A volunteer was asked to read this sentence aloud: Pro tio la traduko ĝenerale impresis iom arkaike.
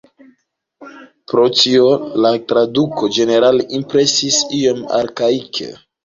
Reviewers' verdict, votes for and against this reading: accepted, 2, 1